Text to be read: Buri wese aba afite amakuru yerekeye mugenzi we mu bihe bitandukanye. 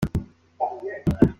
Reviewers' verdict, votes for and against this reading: rejected, 0, 3